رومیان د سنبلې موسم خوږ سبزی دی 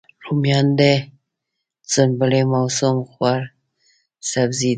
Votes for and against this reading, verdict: 2, 0, accepted